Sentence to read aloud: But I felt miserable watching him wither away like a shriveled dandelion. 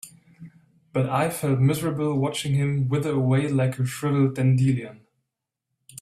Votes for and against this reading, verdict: 0, 2, rejected